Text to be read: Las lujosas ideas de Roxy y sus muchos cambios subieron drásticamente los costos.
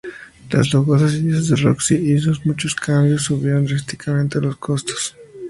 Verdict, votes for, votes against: accepted, 2, 0